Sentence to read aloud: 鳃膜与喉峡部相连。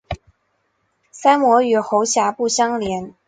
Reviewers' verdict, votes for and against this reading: accepted, 6, 0